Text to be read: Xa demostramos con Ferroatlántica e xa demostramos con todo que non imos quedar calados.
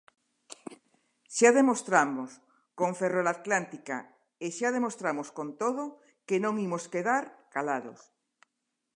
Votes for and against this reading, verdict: 0, 2, rejected